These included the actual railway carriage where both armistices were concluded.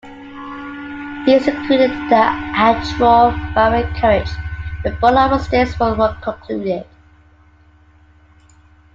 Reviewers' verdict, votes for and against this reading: rejected, 1, 2